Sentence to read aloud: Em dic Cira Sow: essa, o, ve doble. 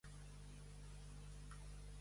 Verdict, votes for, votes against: rejected, 0, 2